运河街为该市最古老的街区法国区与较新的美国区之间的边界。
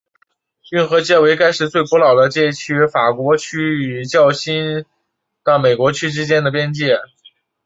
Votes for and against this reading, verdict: 2, 0, accepted